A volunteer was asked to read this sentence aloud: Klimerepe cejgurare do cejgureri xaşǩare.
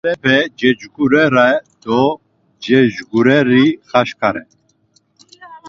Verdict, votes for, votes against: rejected, 0, 2